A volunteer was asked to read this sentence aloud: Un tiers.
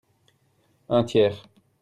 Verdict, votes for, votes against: accepted, 2, 0